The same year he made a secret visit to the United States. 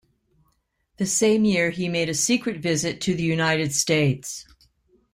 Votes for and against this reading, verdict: 2, 0, accepted